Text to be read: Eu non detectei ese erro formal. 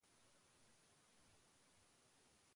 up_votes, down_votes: 0, 2